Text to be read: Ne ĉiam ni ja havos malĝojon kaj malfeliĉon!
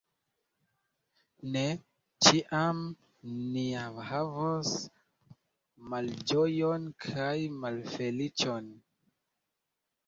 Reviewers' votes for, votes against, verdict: 2, 0, accepted